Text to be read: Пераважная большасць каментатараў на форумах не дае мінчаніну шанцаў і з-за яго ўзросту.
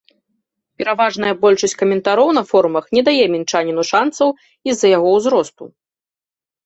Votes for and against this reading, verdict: 1, 3, rejected